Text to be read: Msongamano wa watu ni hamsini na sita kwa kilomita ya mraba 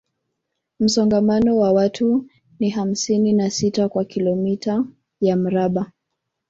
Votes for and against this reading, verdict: 2, 0, accepted